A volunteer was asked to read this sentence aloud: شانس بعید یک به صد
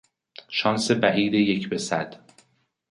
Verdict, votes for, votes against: accepted, 2, 0